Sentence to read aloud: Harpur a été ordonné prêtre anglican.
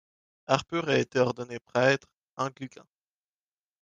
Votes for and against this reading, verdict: 0, 2, rejected